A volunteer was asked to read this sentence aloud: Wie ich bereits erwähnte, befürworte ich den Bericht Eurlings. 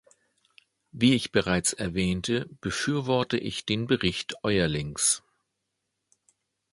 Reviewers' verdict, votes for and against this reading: accepted, 2, 0